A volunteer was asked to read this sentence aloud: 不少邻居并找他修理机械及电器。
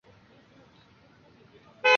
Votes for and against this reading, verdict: 1, 8, rejected